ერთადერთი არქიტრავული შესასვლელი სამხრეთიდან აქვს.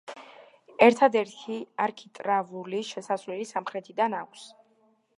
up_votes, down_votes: 1, 2